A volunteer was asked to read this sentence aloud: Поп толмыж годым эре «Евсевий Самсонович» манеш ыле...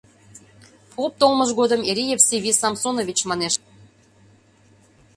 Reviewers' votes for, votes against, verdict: 2, 0, accepted